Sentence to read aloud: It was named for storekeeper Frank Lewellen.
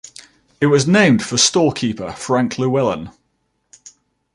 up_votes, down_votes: 2, 0